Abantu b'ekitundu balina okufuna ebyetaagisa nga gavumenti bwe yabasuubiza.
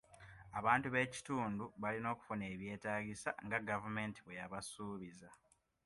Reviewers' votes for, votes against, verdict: 2, 0, accepted